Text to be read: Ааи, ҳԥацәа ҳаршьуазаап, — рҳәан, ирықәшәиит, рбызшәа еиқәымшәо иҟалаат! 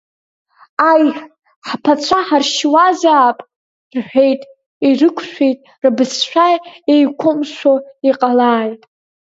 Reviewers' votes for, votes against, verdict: 0, 2, rejected